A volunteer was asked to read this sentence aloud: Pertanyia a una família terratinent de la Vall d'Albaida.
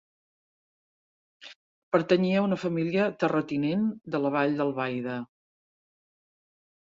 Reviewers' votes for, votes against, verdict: 4, 0, accepted